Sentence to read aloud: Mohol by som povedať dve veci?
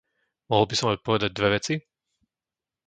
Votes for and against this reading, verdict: 0, 2, rejected